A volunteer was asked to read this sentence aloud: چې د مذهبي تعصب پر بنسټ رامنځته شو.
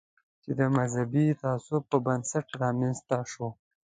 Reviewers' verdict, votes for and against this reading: accepted, 2, 0